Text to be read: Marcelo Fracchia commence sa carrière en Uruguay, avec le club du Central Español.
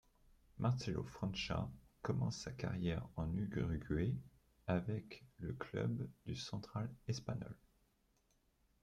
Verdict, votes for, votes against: rejected, 1, 2